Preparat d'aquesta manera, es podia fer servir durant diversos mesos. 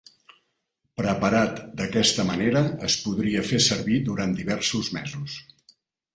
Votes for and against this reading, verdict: 1, 3, rejected